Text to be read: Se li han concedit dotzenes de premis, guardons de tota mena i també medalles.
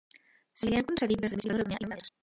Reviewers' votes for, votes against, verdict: 0, 2, rejected